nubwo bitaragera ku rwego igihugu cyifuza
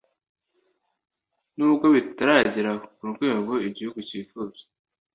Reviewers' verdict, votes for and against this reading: accepted, 2, 0